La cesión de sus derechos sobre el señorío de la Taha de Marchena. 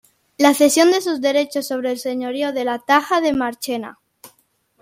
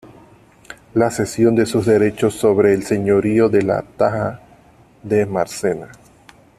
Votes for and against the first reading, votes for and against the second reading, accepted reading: 2, 0, 0, 2, first